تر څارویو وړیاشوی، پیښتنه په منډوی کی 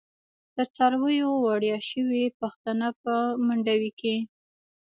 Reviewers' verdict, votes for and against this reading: rejected, 1, 2